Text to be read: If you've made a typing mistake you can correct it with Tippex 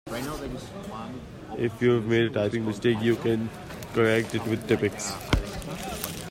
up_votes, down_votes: 1, 2